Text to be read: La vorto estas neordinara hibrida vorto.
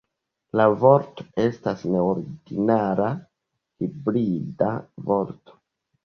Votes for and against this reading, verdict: 2, 1, accepted